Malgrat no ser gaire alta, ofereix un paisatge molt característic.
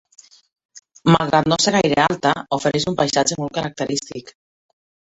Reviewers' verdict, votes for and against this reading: accepted, 2, 0